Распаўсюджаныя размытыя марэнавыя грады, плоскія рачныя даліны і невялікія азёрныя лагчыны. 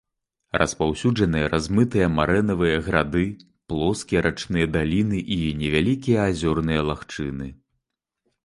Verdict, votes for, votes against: accepted, 2, 0